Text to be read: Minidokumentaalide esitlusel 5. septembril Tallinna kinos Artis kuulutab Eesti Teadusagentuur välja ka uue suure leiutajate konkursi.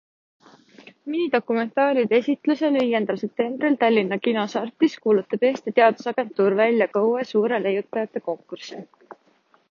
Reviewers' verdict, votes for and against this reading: rejected, 0, 2